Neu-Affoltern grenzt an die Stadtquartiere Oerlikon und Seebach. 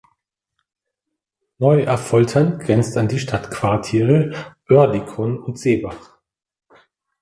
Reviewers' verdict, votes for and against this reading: accepted, 2, 0